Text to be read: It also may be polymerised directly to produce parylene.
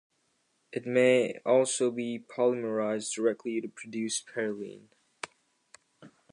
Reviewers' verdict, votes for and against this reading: rejected, 0, 2